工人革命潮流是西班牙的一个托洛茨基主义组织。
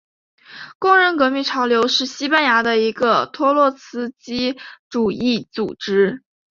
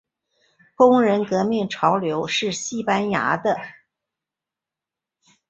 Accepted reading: first